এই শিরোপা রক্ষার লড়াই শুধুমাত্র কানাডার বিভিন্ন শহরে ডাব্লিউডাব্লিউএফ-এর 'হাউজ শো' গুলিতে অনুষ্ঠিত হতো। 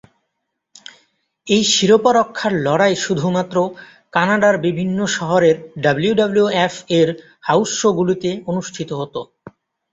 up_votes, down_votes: 2, 0